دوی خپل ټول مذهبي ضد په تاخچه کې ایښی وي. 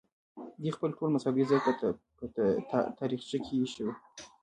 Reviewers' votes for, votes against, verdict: 0, 2, rejected